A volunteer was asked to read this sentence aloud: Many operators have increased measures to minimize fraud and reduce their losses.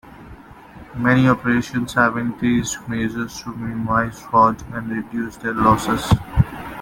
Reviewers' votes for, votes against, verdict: 0, 2, rejected